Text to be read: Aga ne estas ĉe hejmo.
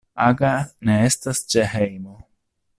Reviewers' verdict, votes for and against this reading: accepted, 2, 0